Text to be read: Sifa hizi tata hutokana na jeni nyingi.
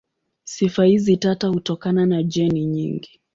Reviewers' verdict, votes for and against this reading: accepted, 7, 2